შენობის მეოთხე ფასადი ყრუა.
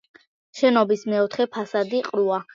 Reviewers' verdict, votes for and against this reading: accepted, 2, 0